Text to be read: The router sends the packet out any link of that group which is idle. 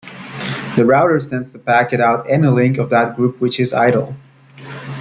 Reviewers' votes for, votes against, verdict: 2, 0, accepted